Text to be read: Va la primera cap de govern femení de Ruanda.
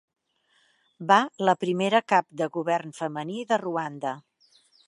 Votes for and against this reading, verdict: 2, 0, accepted